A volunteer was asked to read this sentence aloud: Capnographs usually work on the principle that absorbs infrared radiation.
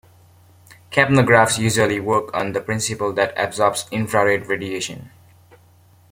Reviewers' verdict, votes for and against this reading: accepted, 2, 0